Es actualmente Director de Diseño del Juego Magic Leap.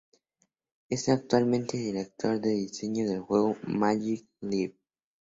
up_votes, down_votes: 4, 0